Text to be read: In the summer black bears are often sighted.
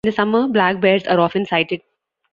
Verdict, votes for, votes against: accepted, 2, 0